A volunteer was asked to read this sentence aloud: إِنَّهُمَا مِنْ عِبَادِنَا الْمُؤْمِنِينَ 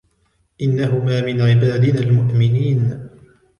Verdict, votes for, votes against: rejected, 1, 2